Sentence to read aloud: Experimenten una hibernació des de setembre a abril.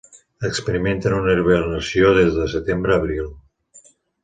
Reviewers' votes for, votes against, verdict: 2, 0, accepted